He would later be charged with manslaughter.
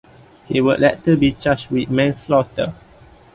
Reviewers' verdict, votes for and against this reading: accepted, 2, 0